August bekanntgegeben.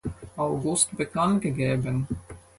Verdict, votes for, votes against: accepted, 4, 0